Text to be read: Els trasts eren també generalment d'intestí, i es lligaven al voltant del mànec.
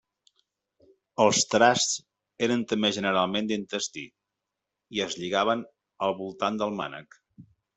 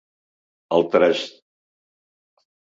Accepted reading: first